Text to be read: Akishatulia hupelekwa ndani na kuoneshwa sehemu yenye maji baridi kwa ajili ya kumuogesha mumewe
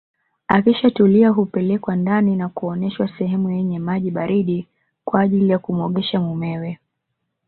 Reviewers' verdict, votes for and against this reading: accepted, 3, 0